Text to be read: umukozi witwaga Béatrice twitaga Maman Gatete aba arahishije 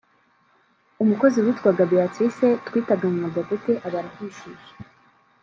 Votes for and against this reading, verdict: 2, 0, accepted